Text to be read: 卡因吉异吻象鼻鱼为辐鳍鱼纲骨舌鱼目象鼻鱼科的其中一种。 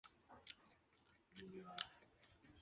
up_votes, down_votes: 2, 1